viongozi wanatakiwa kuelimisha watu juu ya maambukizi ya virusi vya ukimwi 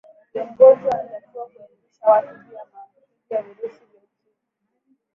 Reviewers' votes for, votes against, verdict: 0, 3, rejected